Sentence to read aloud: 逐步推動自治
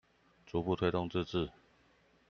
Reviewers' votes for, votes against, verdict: 2, 0, accepted